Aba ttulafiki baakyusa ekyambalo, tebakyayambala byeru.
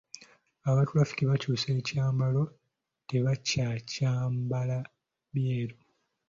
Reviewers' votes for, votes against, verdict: 1, 2, rejected